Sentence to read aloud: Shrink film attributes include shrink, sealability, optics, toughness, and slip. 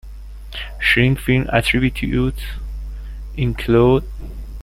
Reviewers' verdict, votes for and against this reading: rejected, 0, 2